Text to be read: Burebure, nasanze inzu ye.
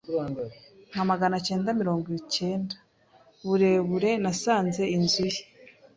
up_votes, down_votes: 0, 2